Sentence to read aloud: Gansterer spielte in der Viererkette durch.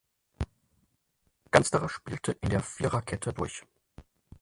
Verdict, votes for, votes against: accepted, 4, 0